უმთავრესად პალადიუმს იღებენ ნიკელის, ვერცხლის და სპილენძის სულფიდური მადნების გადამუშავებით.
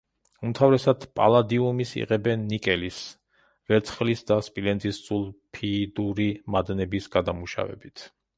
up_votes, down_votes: 0, 2